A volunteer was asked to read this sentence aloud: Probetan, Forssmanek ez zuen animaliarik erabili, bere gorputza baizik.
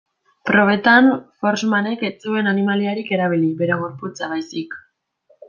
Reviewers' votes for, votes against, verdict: 2, 0, accepted